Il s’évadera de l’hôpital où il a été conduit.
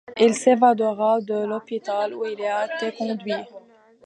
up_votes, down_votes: 2, 1